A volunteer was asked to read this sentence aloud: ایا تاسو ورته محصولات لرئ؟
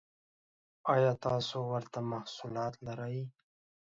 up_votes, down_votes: 2, 0